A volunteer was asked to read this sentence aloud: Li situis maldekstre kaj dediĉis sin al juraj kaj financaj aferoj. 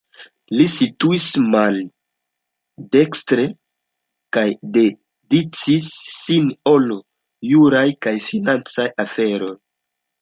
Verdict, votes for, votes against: rejected, 0, 2